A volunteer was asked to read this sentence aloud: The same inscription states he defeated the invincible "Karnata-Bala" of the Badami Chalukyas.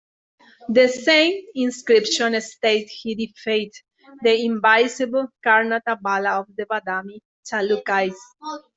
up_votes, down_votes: 0, 2